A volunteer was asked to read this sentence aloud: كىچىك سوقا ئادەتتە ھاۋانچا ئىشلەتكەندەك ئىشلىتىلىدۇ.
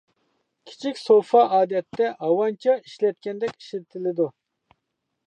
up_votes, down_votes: 0, 2